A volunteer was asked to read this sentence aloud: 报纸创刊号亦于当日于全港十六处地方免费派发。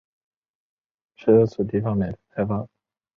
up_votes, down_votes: 3, 1